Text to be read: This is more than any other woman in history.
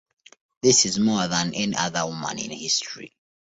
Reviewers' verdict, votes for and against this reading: rejected, 0, 2